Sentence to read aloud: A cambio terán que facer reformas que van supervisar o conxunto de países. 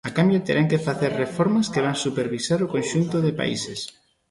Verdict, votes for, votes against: accepted, 2, 0